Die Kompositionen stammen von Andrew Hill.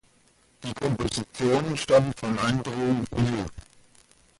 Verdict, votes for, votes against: rejected, 1, 2